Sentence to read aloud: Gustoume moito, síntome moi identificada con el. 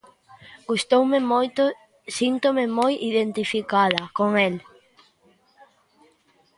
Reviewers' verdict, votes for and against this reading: accepted, 2, 0